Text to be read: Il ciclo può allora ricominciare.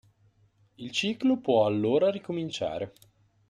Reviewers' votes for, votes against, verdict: 2, 0, accepted